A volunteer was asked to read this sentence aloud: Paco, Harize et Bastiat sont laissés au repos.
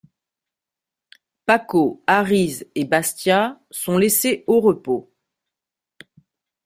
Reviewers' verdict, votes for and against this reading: accepted, 2, 0